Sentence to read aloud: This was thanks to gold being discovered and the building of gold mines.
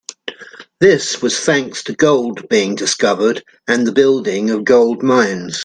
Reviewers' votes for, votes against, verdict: 2, 0, accepted